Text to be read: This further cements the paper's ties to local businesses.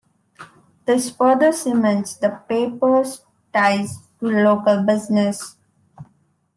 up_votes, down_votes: 1, 2